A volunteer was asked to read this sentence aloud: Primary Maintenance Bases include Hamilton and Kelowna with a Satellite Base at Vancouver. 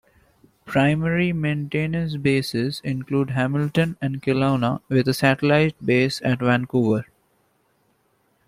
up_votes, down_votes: 1, 2